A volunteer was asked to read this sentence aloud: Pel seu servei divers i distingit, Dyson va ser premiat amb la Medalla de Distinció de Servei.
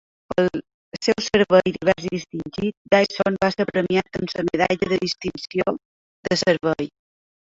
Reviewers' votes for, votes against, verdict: 0, 3, rejected